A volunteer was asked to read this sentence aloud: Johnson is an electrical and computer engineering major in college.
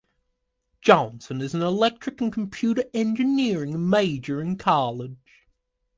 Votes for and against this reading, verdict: 0, 2, rejected